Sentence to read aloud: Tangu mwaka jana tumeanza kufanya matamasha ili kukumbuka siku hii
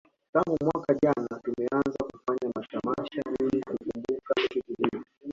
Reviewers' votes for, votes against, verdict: 1, 2, rejected